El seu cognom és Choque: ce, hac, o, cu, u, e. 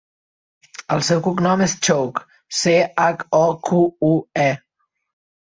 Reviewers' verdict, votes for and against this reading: rejected, 0, 2